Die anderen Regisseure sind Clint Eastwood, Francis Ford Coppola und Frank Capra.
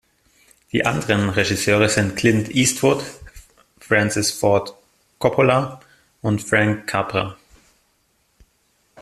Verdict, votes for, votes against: rejected, 0, 2